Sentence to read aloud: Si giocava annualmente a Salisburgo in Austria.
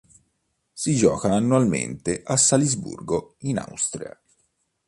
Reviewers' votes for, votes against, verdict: 0, 2, rejected